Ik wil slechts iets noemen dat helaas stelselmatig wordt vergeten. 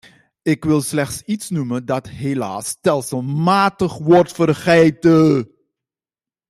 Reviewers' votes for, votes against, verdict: 0, 2, rejected